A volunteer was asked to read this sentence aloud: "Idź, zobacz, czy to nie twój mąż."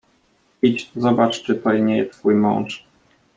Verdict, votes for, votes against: rejected, 0, 2